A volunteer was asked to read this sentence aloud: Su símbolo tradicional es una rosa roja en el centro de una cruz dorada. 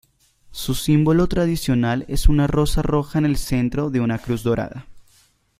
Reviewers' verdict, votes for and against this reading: accepted, 2, 0